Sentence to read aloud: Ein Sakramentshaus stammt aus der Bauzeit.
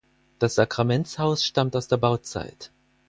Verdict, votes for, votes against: rejected, 2, 4